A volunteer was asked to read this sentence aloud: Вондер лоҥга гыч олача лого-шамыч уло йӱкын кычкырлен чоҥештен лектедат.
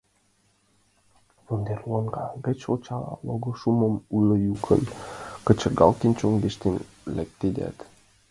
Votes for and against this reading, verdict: 0, 2, rejected